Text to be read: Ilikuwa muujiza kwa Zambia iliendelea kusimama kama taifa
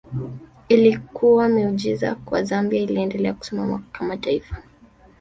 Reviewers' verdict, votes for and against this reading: rejected, 1, 2